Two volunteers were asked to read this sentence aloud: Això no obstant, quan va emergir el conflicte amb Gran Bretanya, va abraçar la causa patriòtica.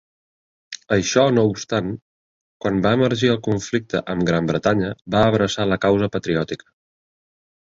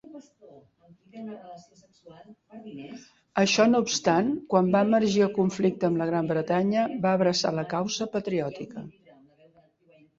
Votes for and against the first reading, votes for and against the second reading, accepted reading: 3, 0, 1, 3, first